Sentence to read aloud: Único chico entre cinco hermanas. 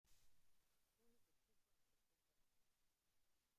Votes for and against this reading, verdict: 0, 2, rejected